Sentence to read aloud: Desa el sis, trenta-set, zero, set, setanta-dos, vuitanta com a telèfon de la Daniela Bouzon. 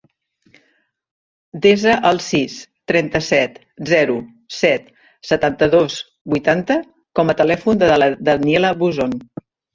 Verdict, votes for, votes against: rejected, 1, 3